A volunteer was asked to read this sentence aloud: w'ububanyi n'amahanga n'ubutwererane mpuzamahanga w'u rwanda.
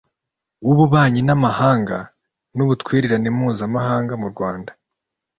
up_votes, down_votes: 0, 2